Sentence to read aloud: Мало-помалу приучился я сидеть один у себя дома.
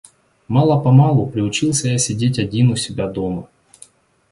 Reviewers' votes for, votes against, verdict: 2, 0, accepted